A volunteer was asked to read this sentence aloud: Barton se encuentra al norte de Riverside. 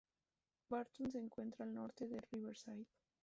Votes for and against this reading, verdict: 0, 2, rejected